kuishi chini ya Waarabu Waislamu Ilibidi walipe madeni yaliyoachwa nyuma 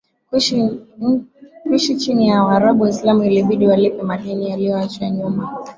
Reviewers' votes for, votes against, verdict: 2, 1, accepted